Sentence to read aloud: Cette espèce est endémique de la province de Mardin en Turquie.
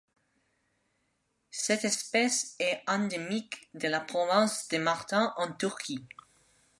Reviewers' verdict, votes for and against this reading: rejected, 1, 2